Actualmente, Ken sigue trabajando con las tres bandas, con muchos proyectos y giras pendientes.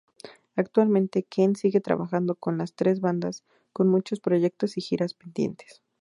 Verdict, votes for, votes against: rejected, 0, 2